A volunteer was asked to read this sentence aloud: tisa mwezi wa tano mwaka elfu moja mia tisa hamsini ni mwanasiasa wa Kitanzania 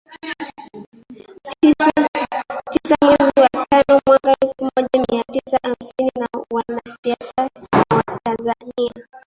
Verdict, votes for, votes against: rejected, 0, 2